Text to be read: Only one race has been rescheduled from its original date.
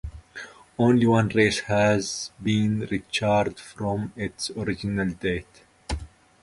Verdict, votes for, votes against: rejected, 0, 2